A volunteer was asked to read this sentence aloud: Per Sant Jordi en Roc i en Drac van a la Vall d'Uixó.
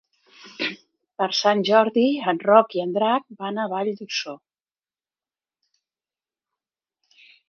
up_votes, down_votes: 0, 2